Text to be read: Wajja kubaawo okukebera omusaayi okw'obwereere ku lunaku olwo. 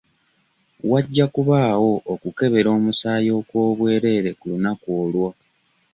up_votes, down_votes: 2, 0